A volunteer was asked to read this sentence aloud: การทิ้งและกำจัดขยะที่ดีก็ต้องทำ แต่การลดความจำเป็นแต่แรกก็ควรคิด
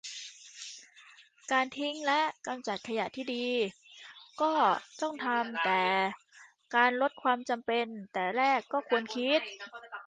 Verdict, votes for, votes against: rejected, 0, 2